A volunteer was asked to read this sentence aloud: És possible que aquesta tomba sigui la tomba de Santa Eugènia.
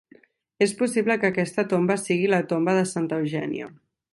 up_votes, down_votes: 2, 0